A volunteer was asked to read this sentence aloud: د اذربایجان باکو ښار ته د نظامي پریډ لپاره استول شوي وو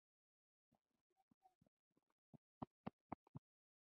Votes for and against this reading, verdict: 0, 2, rejected